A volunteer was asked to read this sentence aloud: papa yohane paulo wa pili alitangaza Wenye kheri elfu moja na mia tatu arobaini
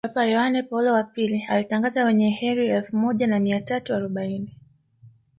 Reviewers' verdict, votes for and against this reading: rejected, 1, 2